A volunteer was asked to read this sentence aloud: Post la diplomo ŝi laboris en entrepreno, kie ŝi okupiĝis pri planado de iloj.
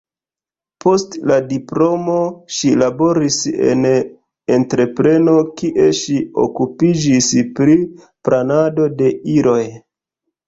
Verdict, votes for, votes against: rejected, 1, 2